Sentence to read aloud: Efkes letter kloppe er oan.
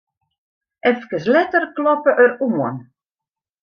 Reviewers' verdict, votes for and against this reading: rejected, 0, 2